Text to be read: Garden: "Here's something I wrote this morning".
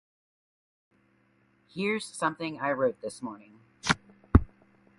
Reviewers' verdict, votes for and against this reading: rejected, 0, 2